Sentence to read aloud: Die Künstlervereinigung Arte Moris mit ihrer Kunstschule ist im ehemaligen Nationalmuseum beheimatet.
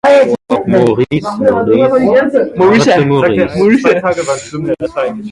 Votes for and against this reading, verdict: 0, 2, rejected